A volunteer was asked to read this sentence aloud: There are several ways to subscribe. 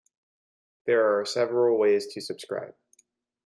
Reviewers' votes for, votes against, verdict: 2, 0, accepted